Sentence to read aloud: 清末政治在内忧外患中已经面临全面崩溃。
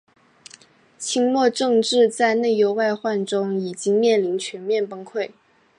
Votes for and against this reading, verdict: 3, 0, accepted